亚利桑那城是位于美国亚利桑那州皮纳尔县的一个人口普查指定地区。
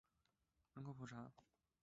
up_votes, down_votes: 1, 3